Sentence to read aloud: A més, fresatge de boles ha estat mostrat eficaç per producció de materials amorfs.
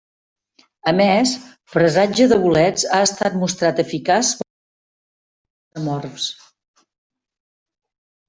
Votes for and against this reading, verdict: 0, 2, rejected